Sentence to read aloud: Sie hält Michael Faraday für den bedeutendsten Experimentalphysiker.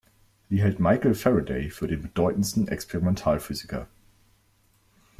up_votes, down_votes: 2, 0